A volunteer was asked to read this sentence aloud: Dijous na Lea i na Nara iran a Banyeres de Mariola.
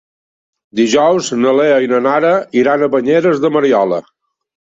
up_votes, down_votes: 2, 0